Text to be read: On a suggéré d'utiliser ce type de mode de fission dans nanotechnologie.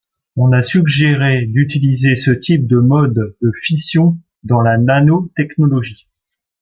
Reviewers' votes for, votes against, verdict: 1, 2, rejected